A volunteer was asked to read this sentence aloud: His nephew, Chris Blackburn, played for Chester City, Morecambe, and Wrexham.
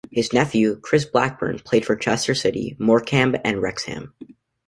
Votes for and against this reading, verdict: 2, 0, accepted